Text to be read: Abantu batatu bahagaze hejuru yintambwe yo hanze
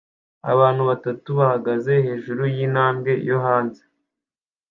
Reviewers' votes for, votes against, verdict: 2, 0, accepted